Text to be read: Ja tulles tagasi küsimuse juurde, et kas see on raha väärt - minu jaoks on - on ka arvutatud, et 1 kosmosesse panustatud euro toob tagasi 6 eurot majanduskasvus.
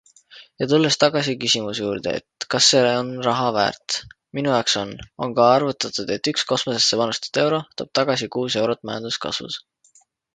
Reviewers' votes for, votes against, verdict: 0, 2, rejected